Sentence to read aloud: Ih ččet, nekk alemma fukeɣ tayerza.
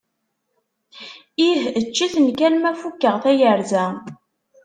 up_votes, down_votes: 0, 2